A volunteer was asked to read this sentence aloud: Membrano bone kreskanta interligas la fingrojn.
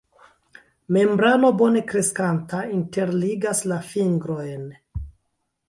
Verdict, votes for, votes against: rejected, 1, 2